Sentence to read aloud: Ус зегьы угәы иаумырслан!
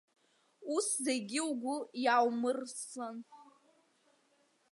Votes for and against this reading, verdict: 1, 2, rejected